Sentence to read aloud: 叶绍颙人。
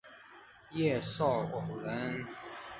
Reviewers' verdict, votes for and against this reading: rejected, 0, 2